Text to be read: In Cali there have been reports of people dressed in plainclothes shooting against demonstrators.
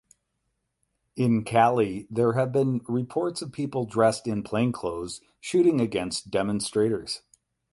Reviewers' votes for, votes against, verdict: 8, 4, accepted